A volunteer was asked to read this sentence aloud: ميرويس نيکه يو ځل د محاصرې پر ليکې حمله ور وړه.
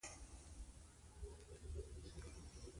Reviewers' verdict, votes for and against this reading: rejected, 1, 2